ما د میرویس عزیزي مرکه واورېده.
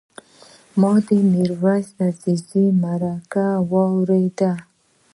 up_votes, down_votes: 1, 2